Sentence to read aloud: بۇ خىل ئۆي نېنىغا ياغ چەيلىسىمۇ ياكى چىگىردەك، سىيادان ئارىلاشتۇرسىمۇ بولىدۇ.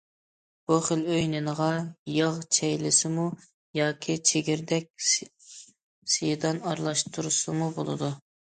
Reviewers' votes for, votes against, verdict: 1, 2, rejected